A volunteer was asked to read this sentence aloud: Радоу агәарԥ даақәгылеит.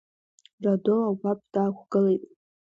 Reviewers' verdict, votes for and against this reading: rejected, 1, 2